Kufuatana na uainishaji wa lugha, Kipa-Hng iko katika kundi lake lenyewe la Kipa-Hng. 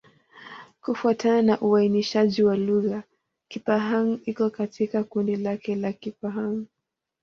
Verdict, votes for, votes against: rejected, 1, 2